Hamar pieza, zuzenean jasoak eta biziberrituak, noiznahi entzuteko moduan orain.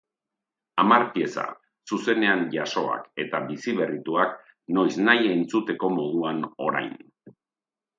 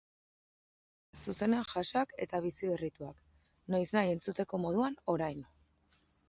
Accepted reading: first